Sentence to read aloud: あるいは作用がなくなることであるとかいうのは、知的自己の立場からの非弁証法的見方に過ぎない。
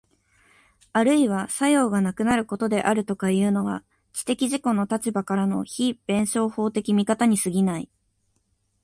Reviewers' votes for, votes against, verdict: 2, 0, accepted